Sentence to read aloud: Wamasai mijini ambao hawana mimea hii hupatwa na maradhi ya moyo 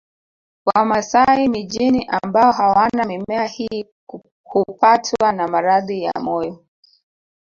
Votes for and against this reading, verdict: 0, 2, rejected